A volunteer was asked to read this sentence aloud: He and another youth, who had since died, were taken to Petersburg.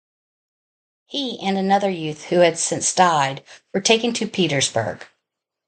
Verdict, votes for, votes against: rejected, 0, 2